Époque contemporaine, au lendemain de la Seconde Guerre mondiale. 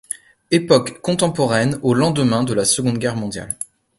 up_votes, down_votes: 2, 0